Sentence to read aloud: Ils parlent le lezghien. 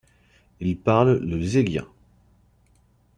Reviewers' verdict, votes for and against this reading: accepted, 2, 0